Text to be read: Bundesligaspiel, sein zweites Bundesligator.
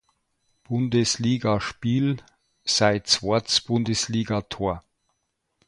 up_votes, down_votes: 0, 2